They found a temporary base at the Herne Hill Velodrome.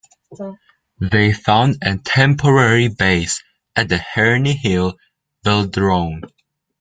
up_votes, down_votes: 2, 1